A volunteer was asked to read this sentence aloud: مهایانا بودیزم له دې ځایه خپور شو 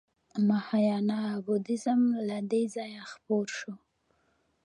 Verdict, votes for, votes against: accepted, 2, 1